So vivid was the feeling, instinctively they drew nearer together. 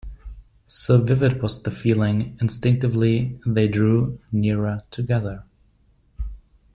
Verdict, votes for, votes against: accepted, 2, 0